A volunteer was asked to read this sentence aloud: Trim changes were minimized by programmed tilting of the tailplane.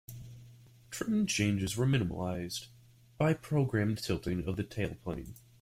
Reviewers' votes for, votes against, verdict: 1, 2, rejected